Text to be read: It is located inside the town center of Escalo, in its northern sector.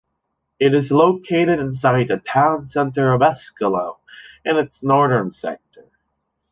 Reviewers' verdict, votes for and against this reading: accepted, 2, 1